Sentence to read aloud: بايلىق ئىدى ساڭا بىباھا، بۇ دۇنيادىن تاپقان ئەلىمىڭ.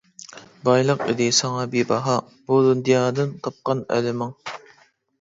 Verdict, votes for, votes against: rejected, 1, 2